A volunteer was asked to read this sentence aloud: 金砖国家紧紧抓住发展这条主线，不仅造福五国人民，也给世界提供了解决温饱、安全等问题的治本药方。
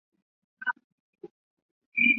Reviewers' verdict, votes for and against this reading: rejected, 0, 2